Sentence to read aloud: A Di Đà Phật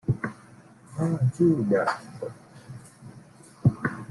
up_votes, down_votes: 1, 2